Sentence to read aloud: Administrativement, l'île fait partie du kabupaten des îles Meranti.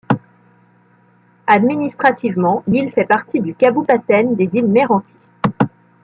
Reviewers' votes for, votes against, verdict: 0, 2, rejected